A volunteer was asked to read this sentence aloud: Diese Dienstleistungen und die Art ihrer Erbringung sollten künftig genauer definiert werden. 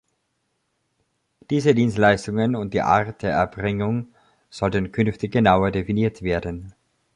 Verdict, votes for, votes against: rejected, 0, 2